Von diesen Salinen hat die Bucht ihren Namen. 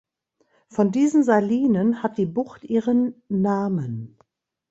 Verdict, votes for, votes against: accepted, 2, 0